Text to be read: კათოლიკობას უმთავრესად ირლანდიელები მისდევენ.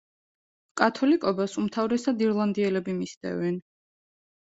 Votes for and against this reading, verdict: 2, 0, accepted